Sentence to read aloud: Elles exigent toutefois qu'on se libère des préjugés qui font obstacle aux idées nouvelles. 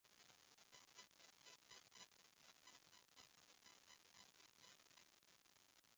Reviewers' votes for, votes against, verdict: 0, 2, rejected